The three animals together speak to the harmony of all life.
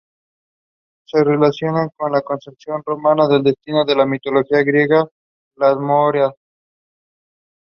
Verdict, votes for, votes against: rejected, 1, 2